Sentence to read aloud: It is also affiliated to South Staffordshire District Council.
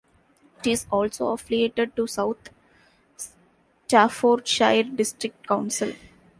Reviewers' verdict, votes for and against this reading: rejected, 0, 2